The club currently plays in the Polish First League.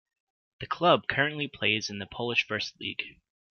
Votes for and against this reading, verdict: 2, 0, accepted